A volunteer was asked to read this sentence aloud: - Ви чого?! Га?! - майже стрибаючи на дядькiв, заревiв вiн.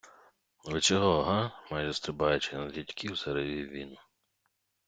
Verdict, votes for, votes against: rejected, 1, 2